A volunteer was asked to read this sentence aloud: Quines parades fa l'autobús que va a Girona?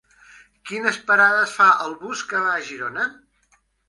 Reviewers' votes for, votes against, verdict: 1, 2, rejected